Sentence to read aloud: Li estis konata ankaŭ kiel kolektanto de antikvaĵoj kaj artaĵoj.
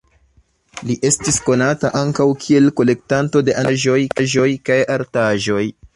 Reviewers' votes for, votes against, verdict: 1, 3, rejected